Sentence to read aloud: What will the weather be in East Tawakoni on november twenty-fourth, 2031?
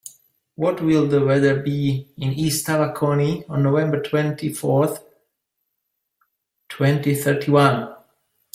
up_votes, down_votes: 0, 2